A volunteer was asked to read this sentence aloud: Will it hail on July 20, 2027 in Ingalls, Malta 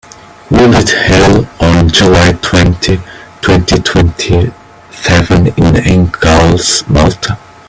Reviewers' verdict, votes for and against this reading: rejected, 0, 2